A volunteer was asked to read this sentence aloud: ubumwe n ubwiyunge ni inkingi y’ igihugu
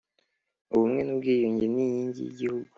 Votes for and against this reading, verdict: 2, 0, accepted